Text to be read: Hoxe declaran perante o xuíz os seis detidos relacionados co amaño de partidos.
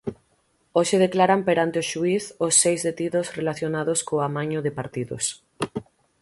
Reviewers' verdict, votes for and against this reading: accepted, 6, 0